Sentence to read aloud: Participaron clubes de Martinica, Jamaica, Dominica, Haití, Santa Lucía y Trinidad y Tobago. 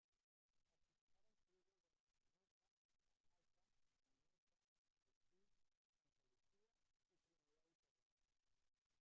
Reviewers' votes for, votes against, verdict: 0, 2, rejected